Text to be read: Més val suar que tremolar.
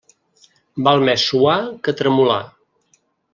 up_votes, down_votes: 1, 2